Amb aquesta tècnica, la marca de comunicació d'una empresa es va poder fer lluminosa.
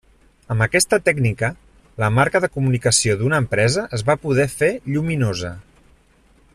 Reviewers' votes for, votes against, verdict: 3, 0, accepted